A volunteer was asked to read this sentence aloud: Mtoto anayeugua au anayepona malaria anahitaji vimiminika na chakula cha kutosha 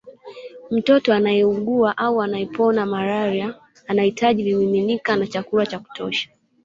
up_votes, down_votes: 2, 1